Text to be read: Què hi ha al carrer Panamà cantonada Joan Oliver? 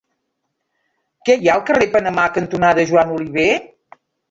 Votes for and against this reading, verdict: 1, 2, rejected